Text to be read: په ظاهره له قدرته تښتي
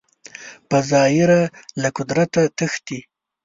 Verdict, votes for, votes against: accepted, 2, 0